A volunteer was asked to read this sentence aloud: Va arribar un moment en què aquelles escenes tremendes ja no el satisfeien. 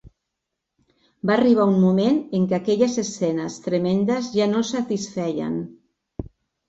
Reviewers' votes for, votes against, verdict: 2, 1, accepted